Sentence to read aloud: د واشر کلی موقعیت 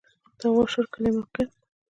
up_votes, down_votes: 0, 2